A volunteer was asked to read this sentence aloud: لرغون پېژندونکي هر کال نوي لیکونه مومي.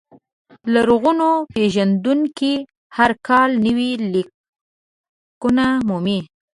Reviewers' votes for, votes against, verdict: 1, 2, rejected